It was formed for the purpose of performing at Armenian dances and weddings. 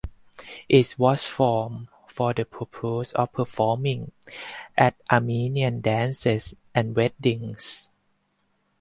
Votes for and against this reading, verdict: 0, 4, rejected